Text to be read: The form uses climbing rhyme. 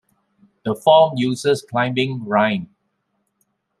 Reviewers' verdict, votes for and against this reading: accepted, 2, 0